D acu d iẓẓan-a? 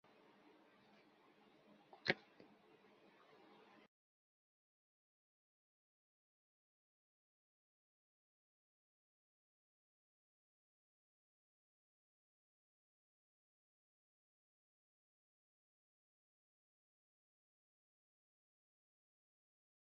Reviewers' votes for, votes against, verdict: 0, 2, rejected